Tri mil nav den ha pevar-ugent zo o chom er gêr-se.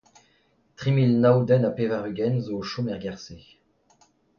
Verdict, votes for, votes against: rejected, 1, 2